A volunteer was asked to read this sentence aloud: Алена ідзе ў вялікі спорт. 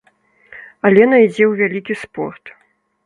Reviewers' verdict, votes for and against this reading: accepted, 3, 1